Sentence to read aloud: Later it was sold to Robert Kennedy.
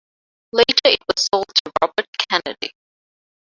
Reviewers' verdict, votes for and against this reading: rejected, 1, 2